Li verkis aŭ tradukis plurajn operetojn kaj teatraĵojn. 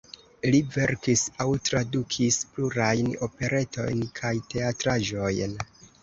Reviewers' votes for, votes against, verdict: 2, 0, accepted